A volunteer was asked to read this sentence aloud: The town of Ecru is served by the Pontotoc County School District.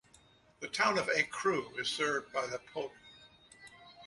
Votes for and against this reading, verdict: 0, 2, rejected